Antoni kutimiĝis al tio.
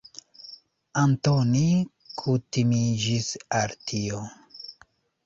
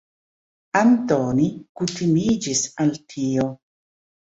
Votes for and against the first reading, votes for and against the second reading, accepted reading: 3, 0, 1, 2, first